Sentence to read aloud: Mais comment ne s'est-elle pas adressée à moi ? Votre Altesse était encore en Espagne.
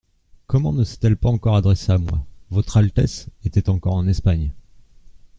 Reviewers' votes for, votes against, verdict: 0, 2, rejected